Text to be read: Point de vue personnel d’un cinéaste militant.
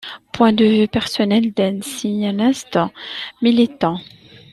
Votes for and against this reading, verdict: 1, 2, rejected